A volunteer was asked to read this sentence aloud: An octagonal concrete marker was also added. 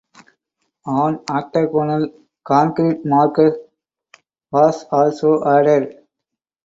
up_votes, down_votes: 4, 2